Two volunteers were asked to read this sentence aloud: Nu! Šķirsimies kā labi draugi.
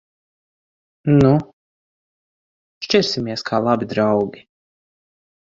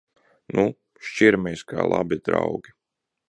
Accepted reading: first